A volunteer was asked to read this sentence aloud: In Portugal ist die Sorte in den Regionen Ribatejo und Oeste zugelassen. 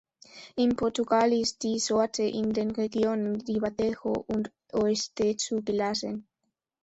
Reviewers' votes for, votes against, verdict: 2, 0, accepted